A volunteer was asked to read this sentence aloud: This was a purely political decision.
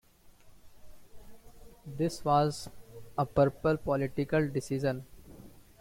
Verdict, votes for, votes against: rejected, 1, 2